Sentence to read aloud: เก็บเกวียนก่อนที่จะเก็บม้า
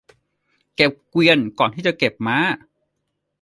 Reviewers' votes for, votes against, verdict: 2, 0, accepted